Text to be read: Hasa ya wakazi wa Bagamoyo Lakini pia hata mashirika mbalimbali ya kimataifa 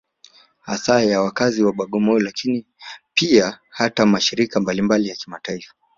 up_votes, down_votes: 2, 1